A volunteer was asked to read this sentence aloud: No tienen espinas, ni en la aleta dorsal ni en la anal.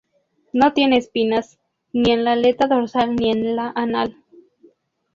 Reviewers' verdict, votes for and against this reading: rejected, 0, 2